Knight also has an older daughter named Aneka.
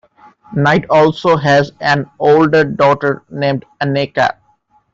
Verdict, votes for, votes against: accepted, 2, 0